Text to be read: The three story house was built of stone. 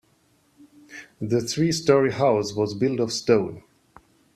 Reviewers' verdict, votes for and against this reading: accepted, 2, 0